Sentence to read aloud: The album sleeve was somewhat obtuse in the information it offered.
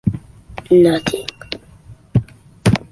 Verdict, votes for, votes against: rejected, 0, 2